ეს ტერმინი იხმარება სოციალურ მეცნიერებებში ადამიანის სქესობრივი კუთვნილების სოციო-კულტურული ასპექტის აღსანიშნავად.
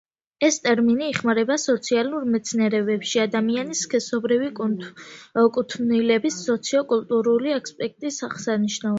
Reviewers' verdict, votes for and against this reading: rejected, 0, 2